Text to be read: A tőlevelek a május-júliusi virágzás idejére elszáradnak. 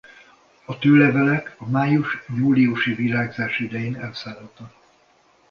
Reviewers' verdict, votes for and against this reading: rejected, 1, 2